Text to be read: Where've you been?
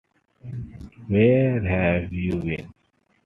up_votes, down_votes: 2, 1